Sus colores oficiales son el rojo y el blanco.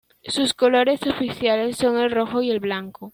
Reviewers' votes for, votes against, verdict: 2, 0, accepted